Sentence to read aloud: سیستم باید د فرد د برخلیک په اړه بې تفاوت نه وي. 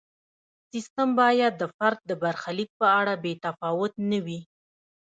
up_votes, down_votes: 1, 2